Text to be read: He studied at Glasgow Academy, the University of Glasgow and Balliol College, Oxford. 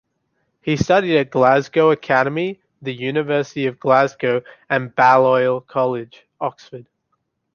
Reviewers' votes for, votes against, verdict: 2, 0, accepted